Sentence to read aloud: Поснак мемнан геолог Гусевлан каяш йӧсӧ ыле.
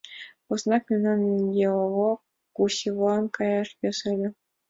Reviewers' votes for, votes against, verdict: 2, 0, accepted